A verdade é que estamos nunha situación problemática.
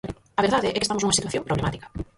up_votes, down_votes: 0, 4